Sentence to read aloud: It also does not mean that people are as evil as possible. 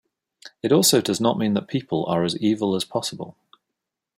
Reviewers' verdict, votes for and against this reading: accepted, 2, 0